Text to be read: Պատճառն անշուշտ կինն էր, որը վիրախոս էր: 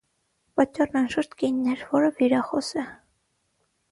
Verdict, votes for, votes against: rejected, 3, 6